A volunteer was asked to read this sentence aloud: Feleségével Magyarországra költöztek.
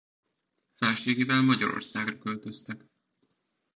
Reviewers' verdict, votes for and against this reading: rejected, 1, 2